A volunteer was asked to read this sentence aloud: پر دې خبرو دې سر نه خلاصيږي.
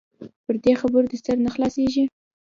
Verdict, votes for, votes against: accepted, 2, 0